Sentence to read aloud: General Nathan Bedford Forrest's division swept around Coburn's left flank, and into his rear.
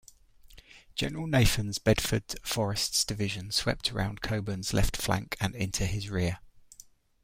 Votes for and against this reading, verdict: 1, 2, rejected